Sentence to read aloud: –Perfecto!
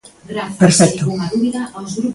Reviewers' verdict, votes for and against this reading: rejected, 0, 2